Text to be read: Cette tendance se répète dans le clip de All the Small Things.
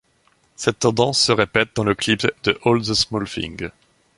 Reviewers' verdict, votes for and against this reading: rejected, 1, 2